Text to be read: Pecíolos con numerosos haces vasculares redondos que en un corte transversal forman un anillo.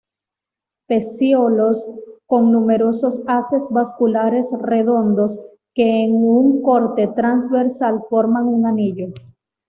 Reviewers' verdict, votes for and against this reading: accepted, 2, 0